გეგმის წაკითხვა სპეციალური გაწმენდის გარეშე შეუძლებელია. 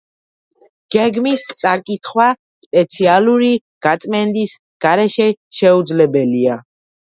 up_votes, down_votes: 2, 0